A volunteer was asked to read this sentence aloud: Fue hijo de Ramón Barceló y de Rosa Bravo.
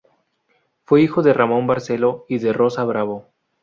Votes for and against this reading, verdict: 4, 0, accepted